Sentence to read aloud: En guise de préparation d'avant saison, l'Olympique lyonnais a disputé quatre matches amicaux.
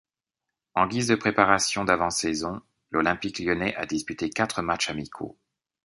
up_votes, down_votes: 2, 0